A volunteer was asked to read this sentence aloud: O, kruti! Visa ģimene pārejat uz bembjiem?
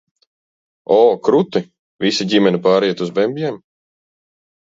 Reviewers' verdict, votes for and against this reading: accepted, 2, 0